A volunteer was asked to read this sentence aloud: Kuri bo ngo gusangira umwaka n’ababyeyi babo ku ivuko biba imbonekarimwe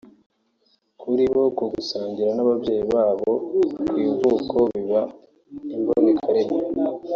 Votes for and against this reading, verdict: 2, 1, accepted